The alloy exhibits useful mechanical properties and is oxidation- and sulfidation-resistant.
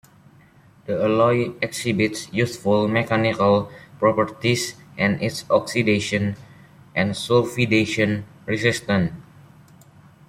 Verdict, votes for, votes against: accepted, 2, 1